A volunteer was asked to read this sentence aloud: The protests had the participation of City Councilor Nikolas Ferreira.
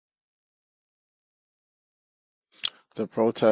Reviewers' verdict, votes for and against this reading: rejected, 0, 2